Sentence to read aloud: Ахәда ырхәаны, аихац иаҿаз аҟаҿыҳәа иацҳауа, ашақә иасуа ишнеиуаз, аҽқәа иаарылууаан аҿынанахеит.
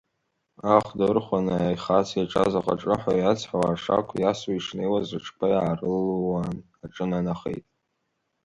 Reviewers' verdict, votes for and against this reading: accepted, 2, 1